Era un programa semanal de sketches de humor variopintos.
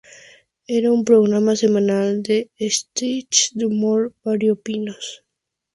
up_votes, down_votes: 0, 2